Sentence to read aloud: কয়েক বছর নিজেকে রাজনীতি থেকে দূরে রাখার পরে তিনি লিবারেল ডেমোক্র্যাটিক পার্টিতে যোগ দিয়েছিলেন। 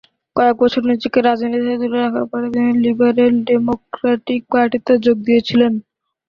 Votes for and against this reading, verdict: 0, 4, rejected